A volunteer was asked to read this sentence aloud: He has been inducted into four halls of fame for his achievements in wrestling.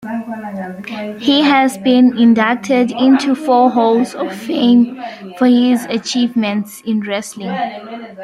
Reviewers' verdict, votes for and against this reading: rejected, 0, 2